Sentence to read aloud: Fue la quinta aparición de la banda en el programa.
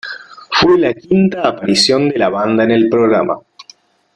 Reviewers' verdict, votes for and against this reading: accepted, 2, 0